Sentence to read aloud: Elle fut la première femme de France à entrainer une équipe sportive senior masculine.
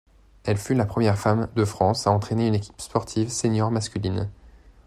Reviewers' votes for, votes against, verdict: 2, 0, accepted